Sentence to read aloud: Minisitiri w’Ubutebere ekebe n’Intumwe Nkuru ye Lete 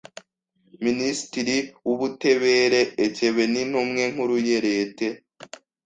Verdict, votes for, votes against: rejected, 1, 2